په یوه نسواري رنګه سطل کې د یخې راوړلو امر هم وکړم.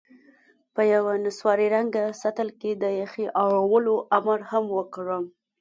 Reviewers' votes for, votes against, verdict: 2, 0, accepted